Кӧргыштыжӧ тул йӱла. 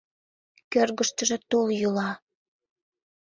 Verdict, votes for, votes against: accepted, 2, 0